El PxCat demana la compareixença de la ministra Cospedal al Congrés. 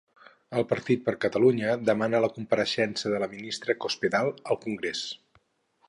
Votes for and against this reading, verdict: 0, 2, rejected